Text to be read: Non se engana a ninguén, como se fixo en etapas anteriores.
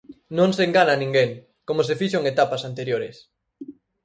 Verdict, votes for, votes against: accepted, 4, 0